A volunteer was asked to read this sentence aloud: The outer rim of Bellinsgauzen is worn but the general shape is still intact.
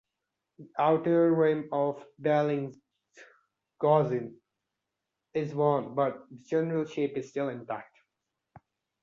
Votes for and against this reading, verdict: 2, 1, accepted